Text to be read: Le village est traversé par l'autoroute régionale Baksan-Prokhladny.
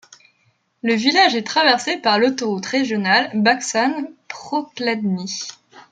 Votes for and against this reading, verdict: 2, 1, accepted